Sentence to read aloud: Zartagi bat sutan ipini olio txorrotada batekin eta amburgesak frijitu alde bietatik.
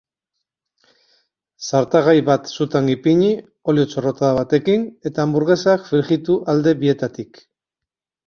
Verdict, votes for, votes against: rejected, 2, 4